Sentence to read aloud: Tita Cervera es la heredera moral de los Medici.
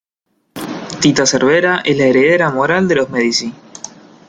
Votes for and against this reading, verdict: 2, 0, accepted